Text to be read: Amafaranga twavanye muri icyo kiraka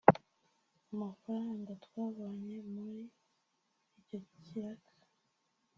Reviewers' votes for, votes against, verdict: 1, 2, rejected